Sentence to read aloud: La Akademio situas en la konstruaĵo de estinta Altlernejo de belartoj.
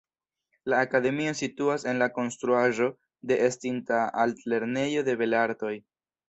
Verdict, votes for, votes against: accepted, 2, 1